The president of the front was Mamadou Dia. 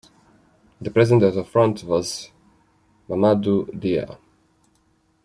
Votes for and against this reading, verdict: 2, 0, accepted